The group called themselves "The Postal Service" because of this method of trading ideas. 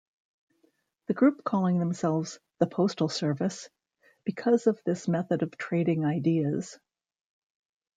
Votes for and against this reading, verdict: 1, 2, rejected